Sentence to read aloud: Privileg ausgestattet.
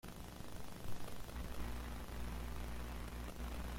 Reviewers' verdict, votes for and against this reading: rejected, 0, 3